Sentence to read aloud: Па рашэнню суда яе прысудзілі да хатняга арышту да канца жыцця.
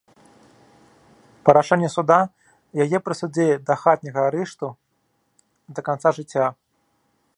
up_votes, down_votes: 2, 0